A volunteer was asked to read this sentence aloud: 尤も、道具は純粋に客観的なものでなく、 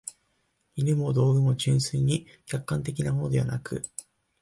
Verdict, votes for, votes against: accepted, 2, 0